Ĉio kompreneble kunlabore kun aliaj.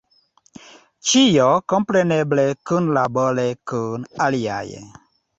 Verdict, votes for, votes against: accepted, 2, 0